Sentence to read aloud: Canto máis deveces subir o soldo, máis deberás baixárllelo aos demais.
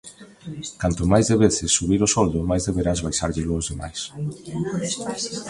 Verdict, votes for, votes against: accepted, 2, 0